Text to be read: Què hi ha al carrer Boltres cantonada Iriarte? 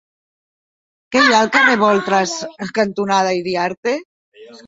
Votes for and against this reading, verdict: 0, 2, rejected